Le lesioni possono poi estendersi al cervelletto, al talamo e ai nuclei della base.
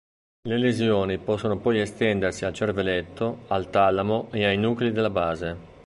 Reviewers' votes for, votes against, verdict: 1, 2, rejected